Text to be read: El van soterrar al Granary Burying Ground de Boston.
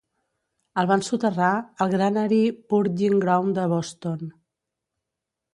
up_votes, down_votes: 1, 2